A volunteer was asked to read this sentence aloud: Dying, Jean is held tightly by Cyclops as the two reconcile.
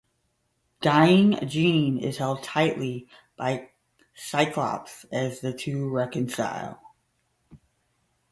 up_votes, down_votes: 5, 0